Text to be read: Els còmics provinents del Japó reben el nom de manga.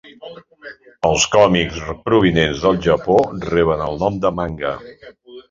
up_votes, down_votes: 3, 0